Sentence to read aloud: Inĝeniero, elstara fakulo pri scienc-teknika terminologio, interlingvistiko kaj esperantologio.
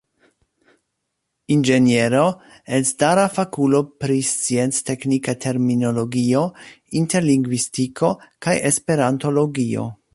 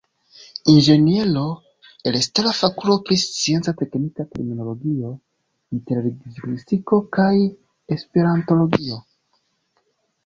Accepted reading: first